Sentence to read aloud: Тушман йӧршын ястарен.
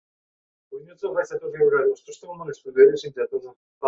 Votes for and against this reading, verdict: 0, 2, rejected